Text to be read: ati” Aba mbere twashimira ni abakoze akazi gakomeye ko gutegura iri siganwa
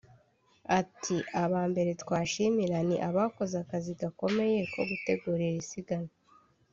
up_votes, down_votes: 1, 2